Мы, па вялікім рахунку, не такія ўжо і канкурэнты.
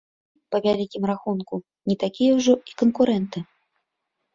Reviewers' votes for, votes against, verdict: 1, 2, rejected